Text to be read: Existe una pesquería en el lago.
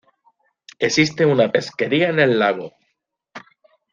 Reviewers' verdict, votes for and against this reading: accepted, 2, 0